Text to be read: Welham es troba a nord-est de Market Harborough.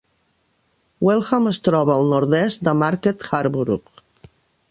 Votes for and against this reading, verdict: 0, 2, rejected